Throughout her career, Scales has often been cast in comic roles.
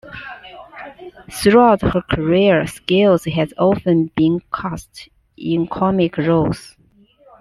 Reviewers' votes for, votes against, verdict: 2, 1, accepted